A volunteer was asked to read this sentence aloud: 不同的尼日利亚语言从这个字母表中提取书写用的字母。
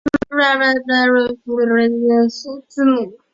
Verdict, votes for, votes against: rejected, 0, 2